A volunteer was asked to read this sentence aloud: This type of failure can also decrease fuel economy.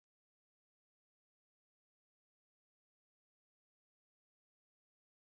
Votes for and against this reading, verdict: 0, 2, rejected